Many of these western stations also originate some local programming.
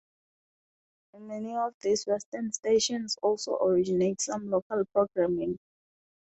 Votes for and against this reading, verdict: 2, 0, accepted